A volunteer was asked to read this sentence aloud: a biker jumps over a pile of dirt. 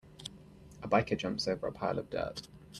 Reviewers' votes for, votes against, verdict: 1, 2, rejected